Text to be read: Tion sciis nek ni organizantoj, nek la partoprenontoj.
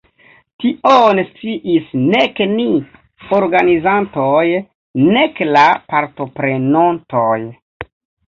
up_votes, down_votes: 1, 2